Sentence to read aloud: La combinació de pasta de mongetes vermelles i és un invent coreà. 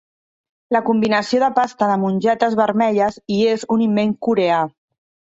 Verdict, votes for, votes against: accepted, 2, 1